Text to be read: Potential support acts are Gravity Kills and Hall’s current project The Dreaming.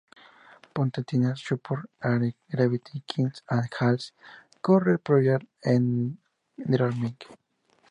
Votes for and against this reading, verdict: 0, 2, rejected